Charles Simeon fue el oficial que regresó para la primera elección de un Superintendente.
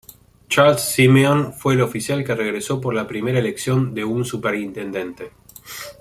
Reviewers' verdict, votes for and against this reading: rejected, 1, 2